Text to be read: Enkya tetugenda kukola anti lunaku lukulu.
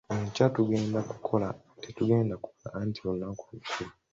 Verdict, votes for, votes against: rejected, 1, 2